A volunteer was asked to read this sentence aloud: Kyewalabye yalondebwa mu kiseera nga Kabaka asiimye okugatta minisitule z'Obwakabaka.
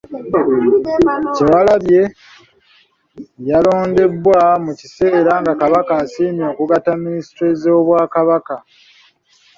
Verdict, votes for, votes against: rejected, 1, 2